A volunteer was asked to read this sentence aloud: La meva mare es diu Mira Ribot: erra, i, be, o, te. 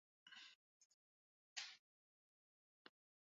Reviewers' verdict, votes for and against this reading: rejected, 0, 5